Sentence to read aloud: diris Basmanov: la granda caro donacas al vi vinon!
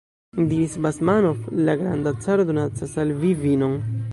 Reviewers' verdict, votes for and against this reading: accepted, 2, 1